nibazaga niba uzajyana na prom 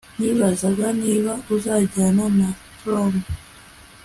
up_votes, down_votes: 2, 0